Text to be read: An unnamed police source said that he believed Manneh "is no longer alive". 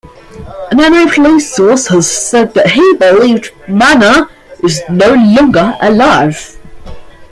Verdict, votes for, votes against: rejected, 0, 2